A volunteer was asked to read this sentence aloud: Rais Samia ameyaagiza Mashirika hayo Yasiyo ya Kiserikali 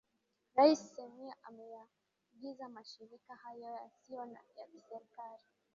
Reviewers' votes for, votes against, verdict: 0, 2, rejected